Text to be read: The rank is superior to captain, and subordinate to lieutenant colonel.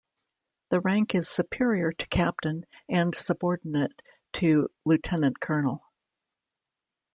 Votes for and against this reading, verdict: 2, 0, accepted